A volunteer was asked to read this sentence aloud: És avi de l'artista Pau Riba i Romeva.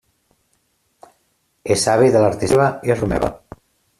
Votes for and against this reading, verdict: 0, 2, rejected